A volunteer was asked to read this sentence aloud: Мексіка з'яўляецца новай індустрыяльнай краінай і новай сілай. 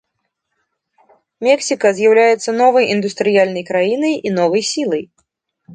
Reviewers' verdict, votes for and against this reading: accepted, 2, 0